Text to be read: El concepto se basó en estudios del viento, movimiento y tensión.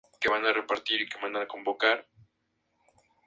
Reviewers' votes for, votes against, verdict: 0, 4, rejected